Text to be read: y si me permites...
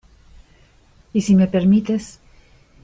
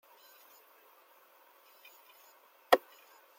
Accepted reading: first